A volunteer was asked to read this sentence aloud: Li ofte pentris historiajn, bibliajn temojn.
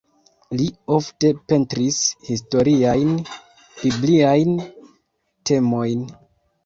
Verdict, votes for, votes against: rejected, 1, 2